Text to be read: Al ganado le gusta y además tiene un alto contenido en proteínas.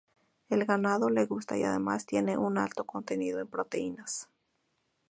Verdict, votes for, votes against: accepted, 2, 0